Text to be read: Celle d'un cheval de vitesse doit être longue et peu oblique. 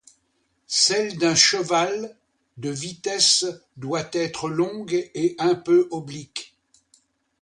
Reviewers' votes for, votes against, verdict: 1, 2, rejected